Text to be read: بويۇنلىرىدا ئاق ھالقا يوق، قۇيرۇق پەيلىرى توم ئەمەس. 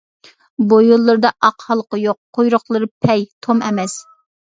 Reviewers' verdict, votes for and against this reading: rejected, 1, 2